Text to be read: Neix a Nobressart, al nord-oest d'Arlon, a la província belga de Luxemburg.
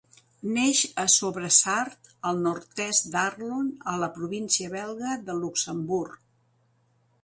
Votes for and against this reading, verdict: 0, 2, rejected